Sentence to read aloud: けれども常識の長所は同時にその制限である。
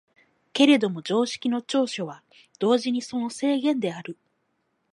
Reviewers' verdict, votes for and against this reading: accepted, 4, 0